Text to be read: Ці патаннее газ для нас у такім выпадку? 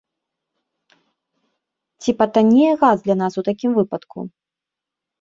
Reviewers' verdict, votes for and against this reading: rejected, 0, 2